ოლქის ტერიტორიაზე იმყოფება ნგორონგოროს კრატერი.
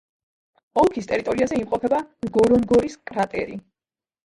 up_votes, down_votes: 1, 2